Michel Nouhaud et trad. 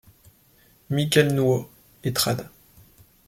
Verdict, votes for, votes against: accepted, 2, 1